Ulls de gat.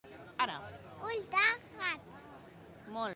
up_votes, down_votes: 2, 0